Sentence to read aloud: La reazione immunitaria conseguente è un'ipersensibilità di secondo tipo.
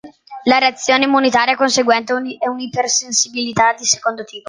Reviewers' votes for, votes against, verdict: 1, 2, rejected